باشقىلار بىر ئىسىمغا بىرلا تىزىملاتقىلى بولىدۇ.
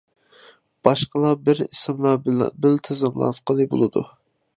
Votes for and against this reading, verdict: 0, 2, rejected